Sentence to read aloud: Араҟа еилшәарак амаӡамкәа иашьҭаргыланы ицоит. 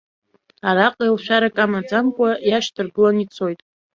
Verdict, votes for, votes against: accepted, 2, 0